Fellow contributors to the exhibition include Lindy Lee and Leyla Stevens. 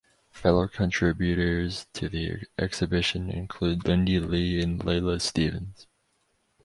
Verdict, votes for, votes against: accepted, 6, 0